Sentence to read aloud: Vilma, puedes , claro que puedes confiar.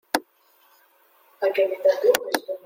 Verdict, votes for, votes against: rejected, 0, 2